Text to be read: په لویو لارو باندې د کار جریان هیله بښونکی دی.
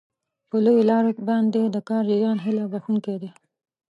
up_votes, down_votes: 1, 2